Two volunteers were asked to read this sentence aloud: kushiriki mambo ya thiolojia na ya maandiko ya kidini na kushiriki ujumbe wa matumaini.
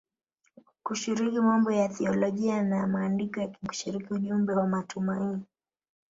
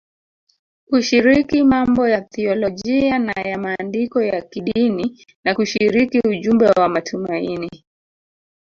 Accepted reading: first